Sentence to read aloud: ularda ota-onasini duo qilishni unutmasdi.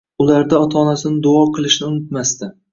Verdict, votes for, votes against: accepted, 2, 1